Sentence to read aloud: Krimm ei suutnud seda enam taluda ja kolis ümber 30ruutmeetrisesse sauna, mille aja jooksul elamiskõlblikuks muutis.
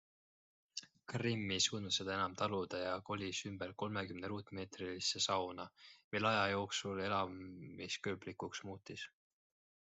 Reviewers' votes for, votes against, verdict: 0, 2, rejected